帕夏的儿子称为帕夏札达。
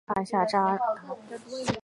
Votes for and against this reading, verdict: 1, 3, rejected